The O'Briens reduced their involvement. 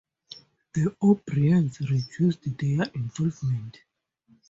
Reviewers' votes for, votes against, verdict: 0, 2, rejected